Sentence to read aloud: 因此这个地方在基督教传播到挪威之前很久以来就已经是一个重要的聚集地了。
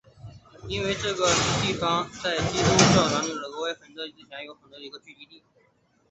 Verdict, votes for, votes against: accepted, 3, 2